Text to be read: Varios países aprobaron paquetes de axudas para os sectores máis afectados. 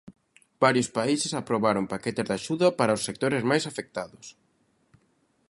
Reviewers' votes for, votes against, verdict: 0, 2, rejected